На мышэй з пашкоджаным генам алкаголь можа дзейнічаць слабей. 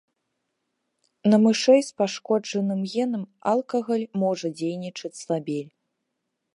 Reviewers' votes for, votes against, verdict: 0, 2, rejected